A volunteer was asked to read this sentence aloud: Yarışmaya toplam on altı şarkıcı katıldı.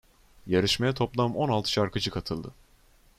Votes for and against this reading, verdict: 2, 0, accepted